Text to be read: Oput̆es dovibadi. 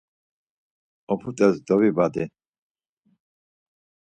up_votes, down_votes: 4, 0